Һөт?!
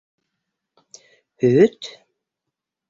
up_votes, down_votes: 1, 2